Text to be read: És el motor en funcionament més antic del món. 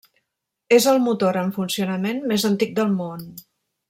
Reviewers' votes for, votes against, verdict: 3, 0, accepted